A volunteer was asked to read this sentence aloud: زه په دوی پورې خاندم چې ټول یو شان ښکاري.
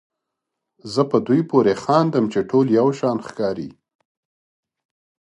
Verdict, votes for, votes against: accepted, 2, 1